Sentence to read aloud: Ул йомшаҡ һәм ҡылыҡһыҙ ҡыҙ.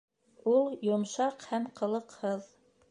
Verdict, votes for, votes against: rejected, 1, 2